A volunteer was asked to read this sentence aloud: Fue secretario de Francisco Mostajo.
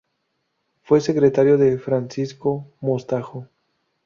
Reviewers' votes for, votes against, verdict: 2, 0, accepted